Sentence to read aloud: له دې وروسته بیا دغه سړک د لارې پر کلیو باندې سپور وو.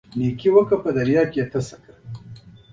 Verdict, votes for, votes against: accepted, 2, 1